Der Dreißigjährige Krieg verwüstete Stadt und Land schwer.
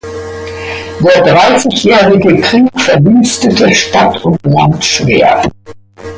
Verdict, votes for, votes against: accepted, 2, 1